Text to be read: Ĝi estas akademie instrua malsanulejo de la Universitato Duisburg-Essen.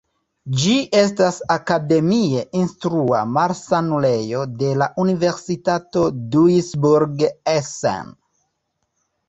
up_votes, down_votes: 1, 2